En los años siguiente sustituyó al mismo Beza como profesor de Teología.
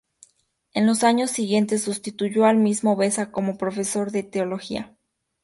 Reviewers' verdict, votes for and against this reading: accepted, 4, 0